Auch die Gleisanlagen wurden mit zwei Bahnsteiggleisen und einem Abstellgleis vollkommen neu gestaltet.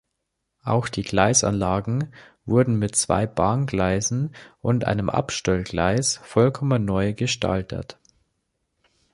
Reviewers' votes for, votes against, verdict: 0, 2, rejected